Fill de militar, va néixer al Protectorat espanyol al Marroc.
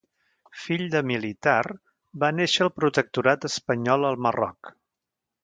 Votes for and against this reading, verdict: 0, 2, rejected